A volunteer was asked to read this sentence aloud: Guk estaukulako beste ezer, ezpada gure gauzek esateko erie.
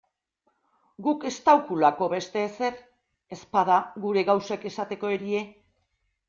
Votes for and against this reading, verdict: 2, 0, accepted